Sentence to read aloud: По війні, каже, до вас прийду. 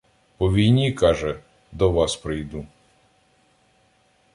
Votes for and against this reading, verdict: 2, 0, accepted